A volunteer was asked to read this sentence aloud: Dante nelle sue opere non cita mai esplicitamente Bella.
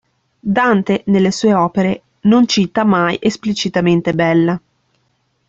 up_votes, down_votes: 2, 0